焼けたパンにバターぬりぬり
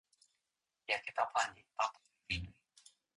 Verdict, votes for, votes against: rejected, 2, 3